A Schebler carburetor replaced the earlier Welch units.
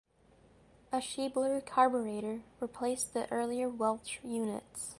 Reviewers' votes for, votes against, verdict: 2, 0, accepted